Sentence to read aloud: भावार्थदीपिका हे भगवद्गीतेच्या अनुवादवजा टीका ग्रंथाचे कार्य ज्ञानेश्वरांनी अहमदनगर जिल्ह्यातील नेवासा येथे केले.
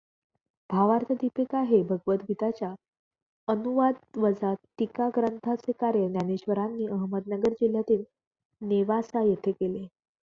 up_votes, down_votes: 0, 2